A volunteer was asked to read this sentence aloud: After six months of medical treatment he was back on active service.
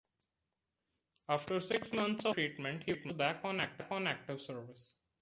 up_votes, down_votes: 0, 3